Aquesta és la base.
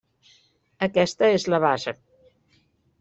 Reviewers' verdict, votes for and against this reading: accepted, 3, 0